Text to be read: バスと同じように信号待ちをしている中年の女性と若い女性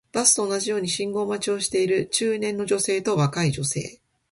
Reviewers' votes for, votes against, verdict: 2, 0, accepted